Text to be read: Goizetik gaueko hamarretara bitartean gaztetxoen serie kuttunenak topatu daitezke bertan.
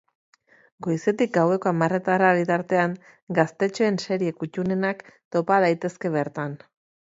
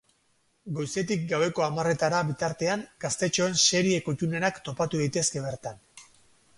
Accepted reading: second